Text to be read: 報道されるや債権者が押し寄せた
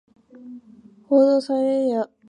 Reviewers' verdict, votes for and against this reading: rejected, 0, 2